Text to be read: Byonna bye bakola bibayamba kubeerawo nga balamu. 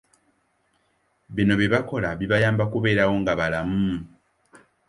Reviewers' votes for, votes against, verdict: 0, 2, rejected